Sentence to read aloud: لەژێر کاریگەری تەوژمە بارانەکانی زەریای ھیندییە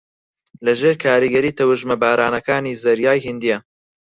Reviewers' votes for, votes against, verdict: 0, 4, rejected